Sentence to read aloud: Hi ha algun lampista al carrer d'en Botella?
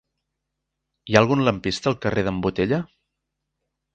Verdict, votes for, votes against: accepted, 3, 0